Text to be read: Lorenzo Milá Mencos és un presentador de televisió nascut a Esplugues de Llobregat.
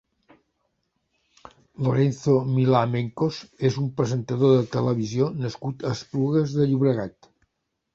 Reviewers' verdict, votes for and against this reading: accepted, 3, 0